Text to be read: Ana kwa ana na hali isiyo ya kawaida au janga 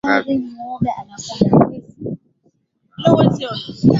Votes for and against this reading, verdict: 0, 8, rejected